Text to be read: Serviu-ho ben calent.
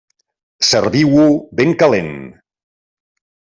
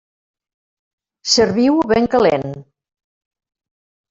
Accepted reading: first